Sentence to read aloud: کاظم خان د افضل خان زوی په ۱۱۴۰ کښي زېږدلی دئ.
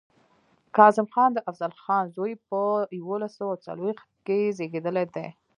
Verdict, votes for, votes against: rejected, 0, 2